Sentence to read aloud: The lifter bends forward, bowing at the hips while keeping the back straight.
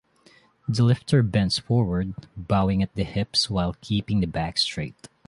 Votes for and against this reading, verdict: 2, 0, accepted